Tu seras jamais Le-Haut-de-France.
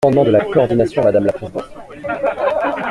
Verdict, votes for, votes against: rejected, 0, 2